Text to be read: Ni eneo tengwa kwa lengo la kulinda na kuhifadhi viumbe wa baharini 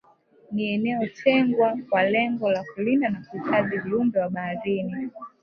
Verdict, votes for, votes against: rejected, 1, 2